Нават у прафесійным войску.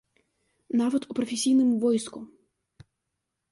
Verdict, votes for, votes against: rejected, 1, 2